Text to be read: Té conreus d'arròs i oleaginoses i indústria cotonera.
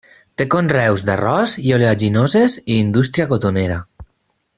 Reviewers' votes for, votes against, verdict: 4, 0, accepted